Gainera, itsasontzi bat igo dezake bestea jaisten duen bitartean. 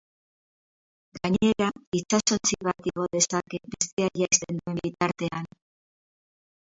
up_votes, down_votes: 0, 6